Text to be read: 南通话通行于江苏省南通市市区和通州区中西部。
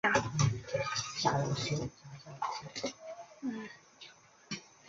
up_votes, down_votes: 1, 3